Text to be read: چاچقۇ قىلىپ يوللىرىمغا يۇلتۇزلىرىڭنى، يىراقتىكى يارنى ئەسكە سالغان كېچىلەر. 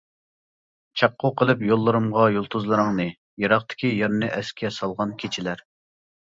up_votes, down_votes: 1, 2